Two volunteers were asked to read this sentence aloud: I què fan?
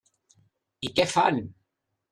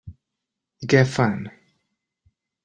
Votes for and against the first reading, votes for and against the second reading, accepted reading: 3, 0, 0, 2, first